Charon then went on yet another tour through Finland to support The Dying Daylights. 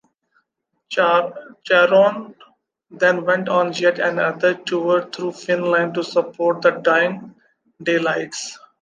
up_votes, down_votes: 0, 2